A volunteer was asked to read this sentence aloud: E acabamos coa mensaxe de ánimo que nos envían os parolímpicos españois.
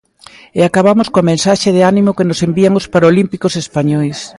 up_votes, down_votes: 2, 0